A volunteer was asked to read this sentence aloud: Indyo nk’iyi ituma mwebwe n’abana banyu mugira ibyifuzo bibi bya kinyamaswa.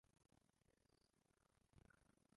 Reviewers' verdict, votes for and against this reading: rejected, 0, 2